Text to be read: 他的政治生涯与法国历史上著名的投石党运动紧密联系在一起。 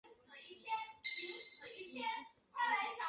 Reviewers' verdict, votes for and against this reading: rejected, 1, 6